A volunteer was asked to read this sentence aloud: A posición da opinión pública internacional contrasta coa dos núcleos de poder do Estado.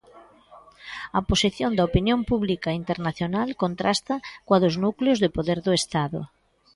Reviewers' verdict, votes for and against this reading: accepted, 2, 0